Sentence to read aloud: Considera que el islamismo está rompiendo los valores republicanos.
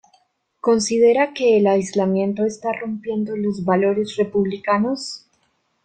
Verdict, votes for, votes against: rejected, 0, 2